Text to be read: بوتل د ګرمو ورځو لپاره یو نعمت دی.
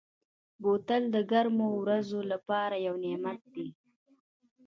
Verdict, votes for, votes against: accepted, 2, 0